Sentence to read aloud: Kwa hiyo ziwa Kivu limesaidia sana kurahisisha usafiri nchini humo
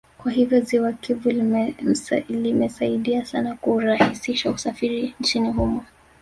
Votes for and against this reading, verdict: 2, 0, accepted